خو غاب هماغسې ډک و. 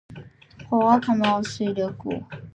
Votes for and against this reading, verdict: 1, 2, rejected